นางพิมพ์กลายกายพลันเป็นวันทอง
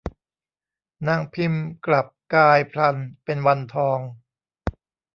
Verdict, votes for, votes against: rejected, 1, 2